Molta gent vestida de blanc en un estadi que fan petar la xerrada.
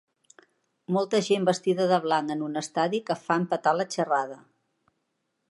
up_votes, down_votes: 1, 2